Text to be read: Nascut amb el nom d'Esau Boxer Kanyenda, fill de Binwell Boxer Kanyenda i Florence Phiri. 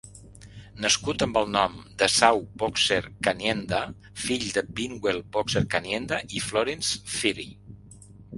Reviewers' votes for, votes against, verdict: 2, 0, accepted